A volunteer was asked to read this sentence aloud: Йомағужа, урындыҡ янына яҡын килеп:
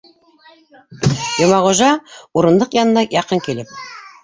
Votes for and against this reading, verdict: 0, 2, rejected